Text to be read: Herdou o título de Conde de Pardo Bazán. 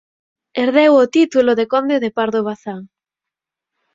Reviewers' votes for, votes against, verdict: 0, 4, rejected